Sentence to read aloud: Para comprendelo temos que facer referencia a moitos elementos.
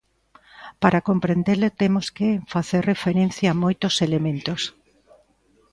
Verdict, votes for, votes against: rejected, 0, 2